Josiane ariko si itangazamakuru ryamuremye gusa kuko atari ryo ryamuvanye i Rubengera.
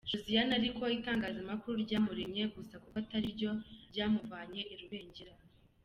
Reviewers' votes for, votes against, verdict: 1, 2, rejected